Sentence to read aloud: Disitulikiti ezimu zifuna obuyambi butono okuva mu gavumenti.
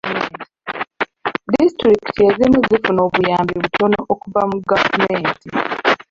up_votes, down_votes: 0, 2